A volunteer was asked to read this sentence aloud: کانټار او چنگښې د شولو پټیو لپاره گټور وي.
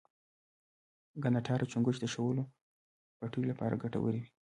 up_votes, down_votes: 2, 1